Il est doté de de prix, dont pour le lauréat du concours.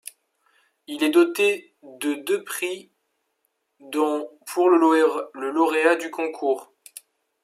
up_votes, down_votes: 0, 2